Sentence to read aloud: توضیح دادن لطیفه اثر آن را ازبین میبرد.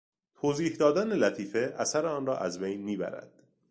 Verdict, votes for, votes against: rejected, 1, 2